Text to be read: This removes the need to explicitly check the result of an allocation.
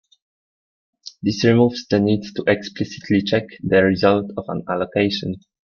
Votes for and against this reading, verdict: 2, 0, accepted